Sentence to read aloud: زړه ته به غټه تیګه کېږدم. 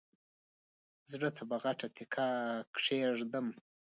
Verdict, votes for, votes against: accepted, 2, 1